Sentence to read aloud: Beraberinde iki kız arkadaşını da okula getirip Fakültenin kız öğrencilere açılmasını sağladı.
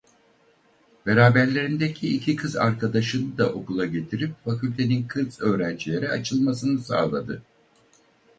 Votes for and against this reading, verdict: 0, 4, rejected